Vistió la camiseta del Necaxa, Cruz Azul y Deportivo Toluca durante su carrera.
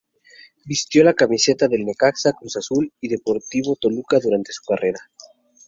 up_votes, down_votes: 2, 0